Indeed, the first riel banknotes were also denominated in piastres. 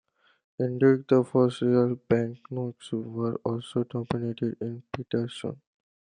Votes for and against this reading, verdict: 2, 1, accepted